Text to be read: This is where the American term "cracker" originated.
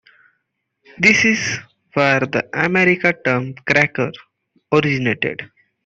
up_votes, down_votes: 2, 1